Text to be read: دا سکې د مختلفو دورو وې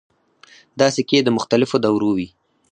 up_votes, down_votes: 2, 4